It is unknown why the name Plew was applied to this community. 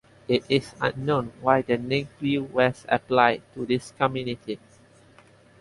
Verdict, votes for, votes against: accepted, 2, 0